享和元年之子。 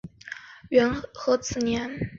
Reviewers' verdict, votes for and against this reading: accepted, 4, 3